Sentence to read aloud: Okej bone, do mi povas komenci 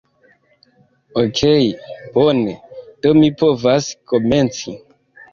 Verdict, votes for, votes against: accepted, 2, 1